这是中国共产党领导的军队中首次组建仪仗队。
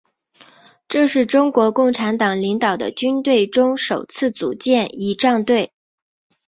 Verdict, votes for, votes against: accepted, 5, 0